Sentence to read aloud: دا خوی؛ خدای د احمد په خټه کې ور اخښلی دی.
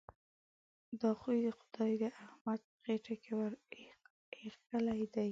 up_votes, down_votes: 1, 2